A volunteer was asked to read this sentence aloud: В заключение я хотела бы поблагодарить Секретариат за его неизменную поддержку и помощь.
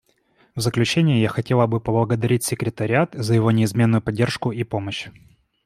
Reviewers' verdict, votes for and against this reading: accepted, 2, 0